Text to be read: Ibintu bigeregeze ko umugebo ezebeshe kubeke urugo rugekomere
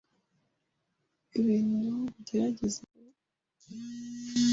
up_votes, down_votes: 0, 2